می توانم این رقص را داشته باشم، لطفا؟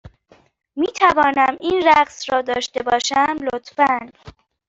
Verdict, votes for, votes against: rejected, 1, 2